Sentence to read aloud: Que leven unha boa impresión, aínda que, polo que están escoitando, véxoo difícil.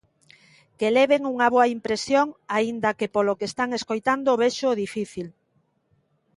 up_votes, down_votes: 3, 0